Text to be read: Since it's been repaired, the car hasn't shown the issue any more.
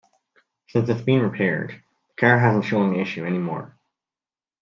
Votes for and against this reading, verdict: 2, 0, accepted